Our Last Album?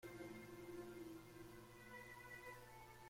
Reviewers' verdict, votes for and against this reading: rejected, 0, 2